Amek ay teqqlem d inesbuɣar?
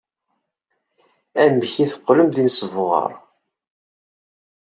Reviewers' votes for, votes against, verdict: 2, 0, accepted